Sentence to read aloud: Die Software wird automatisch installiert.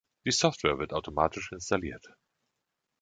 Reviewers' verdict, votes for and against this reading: accepted, 2, 0